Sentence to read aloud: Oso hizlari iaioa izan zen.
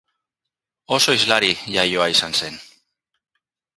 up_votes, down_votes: 2, 0